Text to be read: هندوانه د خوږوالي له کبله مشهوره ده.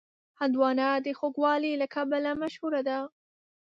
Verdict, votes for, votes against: accepted, 3, 0